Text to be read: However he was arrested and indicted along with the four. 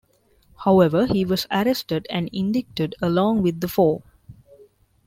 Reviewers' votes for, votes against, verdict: 0, 2, rejected